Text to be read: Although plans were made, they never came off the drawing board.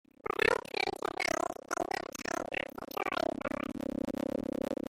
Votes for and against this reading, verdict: 0, 2, rejected